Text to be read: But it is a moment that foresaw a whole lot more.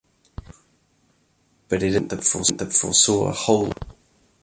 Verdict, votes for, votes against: rejected, 1, 2